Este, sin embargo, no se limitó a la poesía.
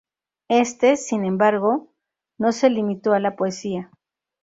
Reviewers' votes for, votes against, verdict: 2, 0, accepted